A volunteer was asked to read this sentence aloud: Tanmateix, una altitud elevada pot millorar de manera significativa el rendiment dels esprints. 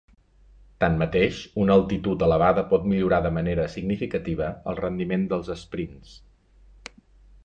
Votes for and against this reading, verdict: 2, 0, accepted